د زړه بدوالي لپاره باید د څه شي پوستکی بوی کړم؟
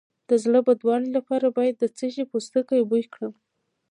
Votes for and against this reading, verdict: 1, 2, rejected